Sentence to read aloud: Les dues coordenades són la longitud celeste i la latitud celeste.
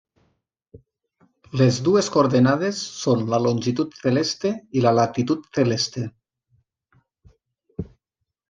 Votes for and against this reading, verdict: 1, 2, rejected